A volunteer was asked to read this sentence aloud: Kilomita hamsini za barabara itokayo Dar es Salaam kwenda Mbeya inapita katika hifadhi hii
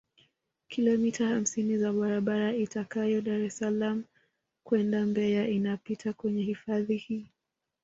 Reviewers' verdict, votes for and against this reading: rejected, 0, 2